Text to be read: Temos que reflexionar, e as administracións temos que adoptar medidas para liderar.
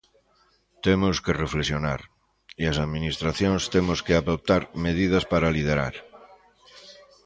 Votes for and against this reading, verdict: 2, 0, accepted